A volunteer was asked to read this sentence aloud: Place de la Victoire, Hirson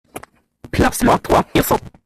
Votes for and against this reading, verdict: 0, 2, rejected